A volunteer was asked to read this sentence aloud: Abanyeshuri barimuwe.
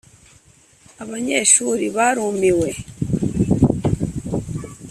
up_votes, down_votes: 2, 1